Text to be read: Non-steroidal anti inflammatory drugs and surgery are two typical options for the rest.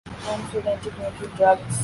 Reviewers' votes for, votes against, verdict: 0, 2, rejected